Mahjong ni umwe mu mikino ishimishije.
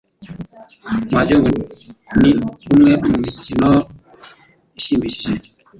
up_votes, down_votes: 1, 2